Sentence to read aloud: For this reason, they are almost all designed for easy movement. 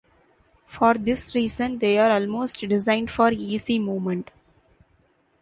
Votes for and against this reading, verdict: 0, 2, rejected